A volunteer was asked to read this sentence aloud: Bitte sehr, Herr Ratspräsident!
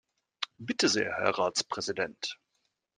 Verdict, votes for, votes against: accepted, 2, 0